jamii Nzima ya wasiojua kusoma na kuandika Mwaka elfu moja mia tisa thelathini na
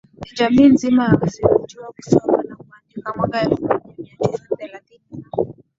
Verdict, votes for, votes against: rejected, 5, 6